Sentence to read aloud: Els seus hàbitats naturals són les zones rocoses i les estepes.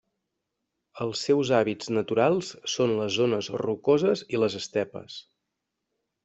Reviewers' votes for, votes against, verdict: 0, 2, rejected